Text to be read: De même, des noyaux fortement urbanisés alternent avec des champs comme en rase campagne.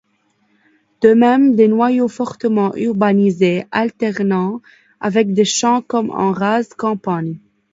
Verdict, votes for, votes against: rejected, 1, 2